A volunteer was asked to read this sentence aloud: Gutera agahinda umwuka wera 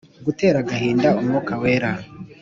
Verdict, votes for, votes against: accepted, 2, 0